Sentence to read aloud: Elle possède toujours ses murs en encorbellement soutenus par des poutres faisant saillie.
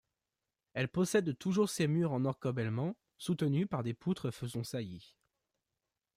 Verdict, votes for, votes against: rejected, 1, 2